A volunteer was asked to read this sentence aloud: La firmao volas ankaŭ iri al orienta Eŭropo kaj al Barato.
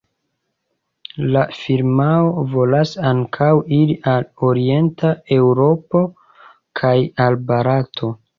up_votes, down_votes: 1, 2